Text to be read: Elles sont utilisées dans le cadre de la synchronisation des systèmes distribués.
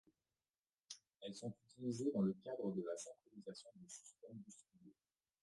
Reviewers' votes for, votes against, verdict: 1, 2, rejected